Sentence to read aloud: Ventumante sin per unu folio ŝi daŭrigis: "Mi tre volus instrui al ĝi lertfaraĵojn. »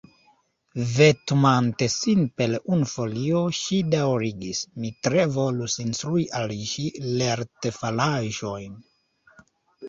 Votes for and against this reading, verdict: 1, 2, rejected